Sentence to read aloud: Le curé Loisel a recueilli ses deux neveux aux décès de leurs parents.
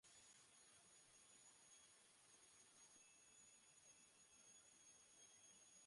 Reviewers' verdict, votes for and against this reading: rejected, 0, 2